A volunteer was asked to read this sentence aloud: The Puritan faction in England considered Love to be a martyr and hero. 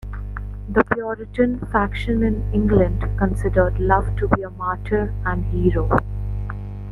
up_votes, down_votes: 2, 0